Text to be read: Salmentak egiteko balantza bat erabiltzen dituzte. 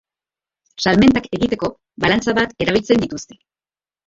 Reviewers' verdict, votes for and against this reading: rejected, 0, 2